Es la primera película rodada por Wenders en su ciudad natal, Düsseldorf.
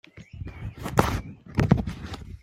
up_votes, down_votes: 0, 2